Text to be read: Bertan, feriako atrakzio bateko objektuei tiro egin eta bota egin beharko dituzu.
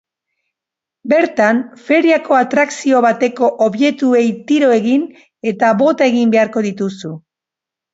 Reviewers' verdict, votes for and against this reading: rejected, 1, 2